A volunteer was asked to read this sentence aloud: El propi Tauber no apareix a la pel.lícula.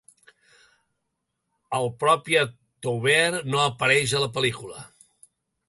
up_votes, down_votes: 0, 2